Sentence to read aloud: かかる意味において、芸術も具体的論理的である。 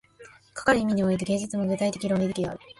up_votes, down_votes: 2, 0